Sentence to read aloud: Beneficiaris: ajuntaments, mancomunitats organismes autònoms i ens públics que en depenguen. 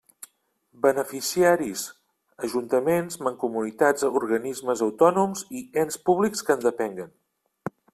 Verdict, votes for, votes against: accepted, 3, 1